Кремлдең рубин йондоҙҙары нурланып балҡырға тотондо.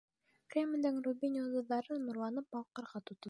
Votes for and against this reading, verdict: 1, 2, rejected